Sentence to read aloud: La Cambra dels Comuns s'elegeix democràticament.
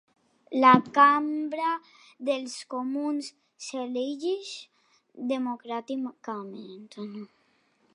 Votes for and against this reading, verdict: 1, 2, rejected